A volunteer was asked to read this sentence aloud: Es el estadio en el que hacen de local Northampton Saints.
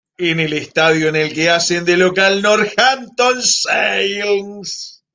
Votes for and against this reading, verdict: 0, 2, rejected